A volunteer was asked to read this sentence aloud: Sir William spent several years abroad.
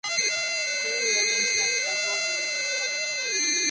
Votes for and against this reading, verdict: 0, 2, rejected